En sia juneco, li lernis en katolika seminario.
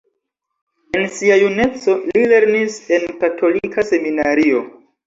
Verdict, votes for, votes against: accepted, 2, 1